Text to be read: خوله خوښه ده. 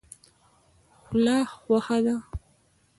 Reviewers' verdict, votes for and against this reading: rejected, 0, 2